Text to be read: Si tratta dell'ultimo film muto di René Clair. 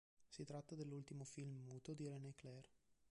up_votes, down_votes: 0, 2